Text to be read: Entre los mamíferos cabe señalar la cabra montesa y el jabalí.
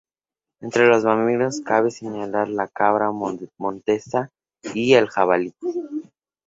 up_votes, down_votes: 0, 2